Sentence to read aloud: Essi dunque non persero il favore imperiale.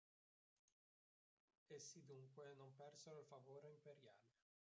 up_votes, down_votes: 0, 2